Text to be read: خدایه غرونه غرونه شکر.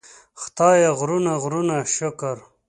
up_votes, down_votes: 2, 0